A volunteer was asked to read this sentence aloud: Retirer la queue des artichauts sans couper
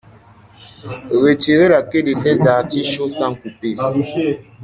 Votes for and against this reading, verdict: 0, 2, rejected